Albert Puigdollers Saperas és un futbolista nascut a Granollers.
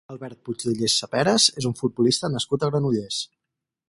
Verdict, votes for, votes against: rejected, 2, 2